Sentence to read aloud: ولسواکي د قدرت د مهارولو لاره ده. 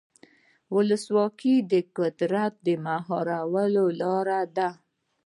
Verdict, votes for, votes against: rejected, 1, 2